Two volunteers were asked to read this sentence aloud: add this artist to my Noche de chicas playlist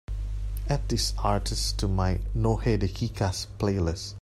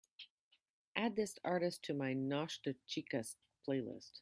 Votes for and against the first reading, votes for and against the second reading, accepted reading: 0, 2, 2, 0, second